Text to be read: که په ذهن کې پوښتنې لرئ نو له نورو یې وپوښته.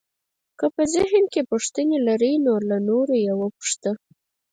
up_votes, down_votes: 2, 4